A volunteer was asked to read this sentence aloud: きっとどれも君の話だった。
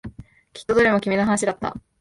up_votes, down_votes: 2, 1